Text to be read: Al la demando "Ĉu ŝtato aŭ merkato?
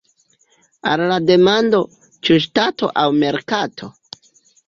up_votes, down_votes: 2, 0